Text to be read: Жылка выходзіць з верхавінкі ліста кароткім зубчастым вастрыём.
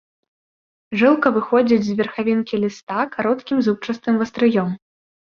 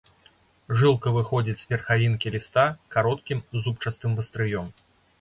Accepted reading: first